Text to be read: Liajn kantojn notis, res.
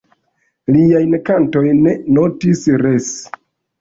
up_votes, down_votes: 1, 2